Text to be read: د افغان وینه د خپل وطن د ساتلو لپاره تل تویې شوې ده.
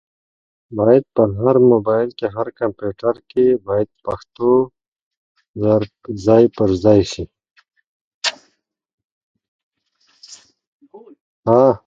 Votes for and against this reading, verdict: 0, 2, rejected